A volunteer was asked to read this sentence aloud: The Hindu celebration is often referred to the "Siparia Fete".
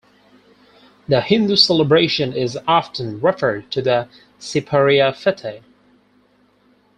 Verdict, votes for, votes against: rejected, 2, 4